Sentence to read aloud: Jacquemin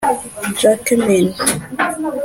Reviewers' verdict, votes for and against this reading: rejected, 0, 2